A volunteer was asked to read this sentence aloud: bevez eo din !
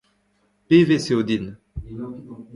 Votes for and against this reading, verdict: 1, 2, rejected